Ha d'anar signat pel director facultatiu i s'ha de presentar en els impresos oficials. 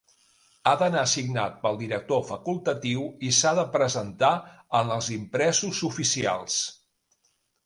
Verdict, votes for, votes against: accepted, 2, 0